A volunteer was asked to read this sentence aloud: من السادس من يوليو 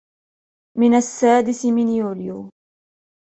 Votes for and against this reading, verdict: 2, 0, accepted